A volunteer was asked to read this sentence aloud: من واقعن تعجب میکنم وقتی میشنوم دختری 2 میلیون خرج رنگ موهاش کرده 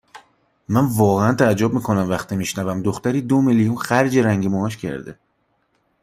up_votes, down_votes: 0, 2